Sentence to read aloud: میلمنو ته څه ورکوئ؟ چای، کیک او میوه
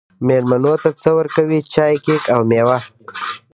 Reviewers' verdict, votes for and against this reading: rejected, 0, 2